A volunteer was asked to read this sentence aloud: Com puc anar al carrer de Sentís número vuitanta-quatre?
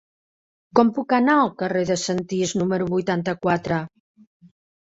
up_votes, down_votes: 0, 2